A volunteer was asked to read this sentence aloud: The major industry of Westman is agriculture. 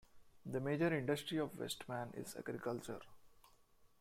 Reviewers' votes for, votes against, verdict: 2, 1, accepted